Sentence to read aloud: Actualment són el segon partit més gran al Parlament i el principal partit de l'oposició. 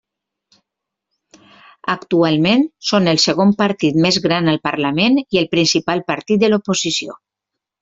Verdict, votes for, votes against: accepted, 3, 0